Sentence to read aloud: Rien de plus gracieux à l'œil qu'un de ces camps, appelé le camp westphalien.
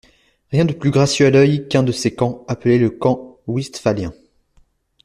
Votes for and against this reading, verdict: 2, 0, accepted